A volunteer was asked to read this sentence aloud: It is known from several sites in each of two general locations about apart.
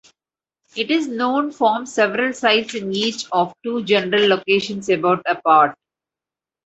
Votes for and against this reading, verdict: 2, 0, accepted